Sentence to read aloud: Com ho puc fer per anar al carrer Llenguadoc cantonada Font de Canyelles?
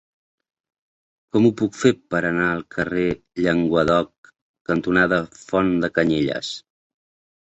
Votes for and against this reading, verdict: 1, 2, rejected